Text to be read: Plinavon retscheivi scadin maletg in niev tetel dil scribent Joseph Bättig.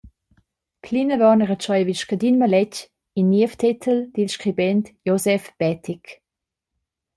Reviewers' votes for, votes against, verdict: 2, 0, accepted